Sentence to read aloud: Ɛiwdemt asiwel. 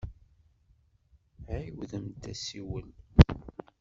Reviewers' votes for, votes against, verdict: 1, 2, rejected